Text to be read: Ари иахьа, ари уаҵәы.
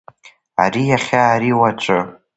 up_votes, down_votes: 2, 0